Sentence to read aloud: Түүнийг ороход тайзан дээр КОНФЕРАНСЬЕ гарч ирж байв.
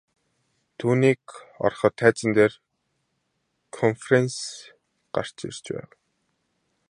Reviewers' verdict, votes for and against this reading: rejected, 0, 2